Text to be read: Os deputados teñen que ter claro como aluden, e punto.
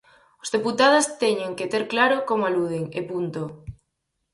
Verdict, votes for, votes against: rejected, 2, 2